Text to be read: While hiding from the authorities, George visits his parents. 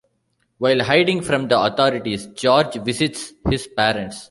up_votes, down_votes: 2, 0